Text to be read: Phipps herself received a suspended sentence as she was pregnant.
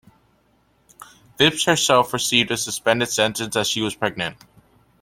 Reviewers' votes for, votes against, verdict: 2, 0, accepted